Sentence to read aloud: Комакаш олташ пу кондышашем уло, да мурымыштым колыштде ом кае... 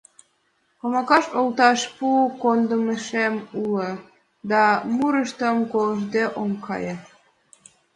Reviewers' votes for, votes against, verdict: 0, 2, rejected